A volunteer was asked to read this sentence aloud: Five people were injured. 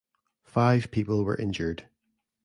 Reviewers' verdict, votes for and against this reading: accepted, 2, 0